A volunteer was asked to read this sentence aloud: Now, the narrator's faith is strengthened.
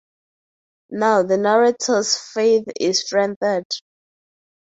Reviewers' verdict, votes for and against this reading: rejected, 2, 2